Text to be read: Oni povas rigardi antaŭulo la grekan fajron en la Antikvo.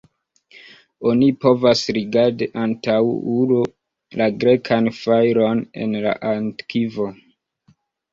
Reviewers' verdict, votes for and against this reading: accepted, 2, 0